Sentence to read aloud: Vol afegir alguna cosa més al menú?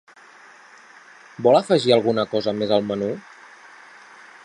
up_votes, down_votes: 3, 0